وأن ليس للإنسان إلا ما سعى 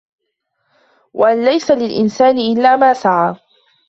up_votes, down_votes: 3, 0